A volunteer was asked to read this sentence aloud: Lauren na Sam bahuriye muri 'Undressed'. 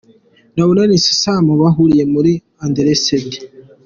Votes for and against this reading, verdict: 1, 2, rejected